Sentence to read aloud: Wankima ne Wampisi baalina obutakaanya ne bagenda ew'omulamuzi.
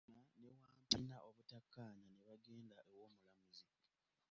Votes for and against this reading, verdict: 0, 2, rejected